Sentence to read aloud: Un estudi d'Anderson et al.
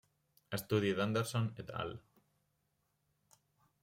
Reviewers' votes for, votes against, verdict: 1, 2, rejected